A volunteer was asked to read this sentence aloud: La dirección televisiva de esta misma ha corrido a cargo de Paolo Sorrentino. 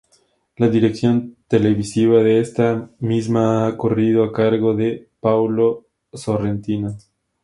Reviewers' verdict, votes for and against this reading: rejected, 0, 2